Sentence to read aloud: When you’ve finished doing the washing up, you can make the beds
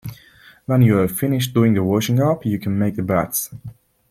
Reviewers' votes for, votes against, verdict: 0, 2, rejected